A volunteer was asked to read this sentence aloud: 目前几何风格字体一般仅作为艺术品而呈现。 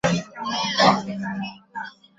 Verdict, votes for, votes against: rejected, 1, 3